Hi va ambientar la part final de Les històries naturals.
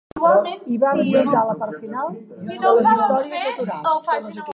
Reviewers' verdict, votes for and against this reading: rejected, 0, 2